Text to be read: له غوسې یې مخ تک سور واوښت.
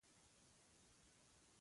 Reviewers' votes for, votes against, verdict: 2, 1, accepted